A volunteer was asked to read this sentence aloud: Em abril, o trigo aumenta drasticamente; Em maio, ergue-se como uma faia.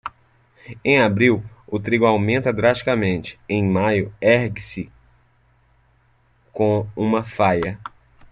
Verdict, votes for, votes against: rejected, 1, 2